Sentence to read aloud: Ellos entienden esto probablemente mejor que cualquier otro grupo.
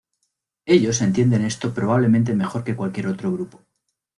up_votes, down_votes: 2, 0